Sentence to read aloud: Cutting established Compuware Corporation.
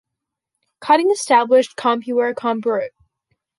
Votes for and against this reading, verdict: 0, 2, rejected